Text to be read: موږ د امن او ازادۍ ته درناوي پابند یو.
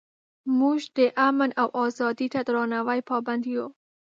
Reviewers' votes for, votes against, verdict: 2, 0, accepted